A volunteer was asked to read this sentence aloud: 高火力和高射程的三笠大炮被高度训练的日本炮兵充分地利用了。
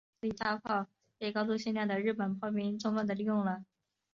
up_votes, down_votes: 0, 2